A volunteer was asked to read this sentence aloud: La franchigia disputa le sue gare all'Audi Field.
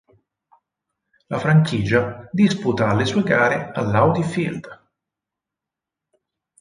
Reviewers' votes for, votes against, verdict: 4, 0, accepted